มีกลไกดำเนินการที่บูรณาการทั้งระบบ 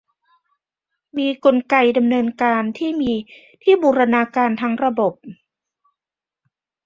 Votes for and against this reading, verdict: 0, 2, rejected